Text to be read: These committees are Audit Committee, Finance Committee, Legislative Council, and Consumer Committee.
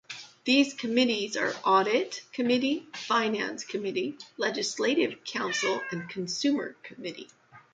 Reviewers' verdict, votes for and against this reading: accepted, 2, 0